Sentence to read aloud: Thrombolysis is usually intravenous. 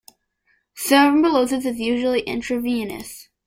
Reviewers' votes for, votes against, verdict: 2, 1, accepted